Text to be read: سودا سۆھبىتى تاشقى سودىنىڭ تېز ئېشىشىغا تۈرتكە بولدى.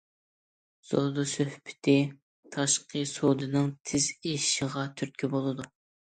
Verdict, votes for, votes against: rejected, 0, 2